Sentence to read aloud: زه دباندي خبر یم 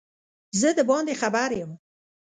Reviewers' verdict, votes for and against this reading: accepted, 2, 0